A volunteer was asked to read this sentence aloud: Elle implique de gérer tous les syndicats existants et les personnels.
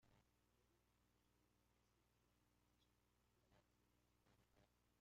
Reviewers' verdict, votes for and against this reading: rejected, 0, 2